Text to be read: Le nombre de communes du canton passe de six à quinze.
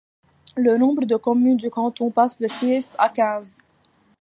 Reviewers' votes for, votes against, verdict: 2, 1, accepted